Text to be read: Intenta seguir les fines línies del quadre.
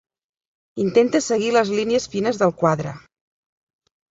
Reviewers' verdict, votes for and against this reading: rejected, 0, 2